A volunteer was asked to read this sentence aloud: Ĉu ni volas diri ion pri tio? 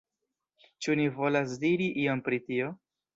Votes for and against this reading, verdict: 0, 2, rejected